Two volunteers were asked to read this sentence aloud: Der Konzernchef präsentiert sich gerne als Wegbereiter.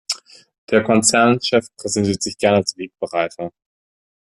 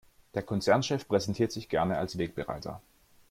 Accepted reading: second